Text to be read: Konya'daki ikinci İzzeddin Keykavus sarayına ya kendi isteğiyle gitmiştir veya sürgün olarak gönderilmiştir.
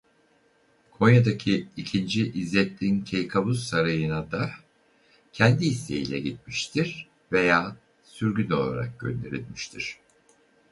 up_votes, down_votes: 0, 2